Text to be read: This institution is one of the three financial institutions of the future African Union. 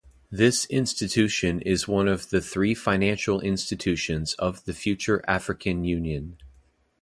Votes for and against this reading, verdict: 2, 0, accepted